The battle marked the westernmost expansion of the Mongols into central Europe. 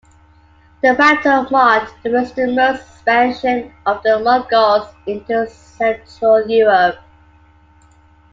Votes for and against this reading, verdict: 2, 1, accepted